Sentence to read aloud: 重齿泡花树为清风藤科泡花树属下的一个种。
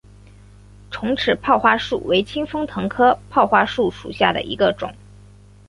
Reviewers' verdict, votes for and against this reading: accepted, 4, 1